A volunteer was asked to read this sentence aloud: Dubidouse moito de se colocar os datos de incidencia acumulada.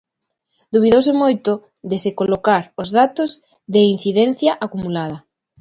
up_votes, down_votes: 2, 0